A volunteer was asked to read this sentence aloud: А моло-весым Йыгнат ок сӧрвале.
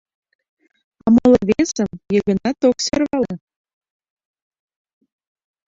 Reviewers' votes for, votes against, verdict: 0, 3, rejected